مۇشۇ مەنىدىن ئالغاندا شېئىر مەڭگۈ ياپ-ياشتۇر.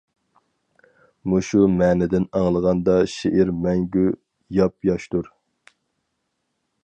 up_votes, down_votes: 0, 2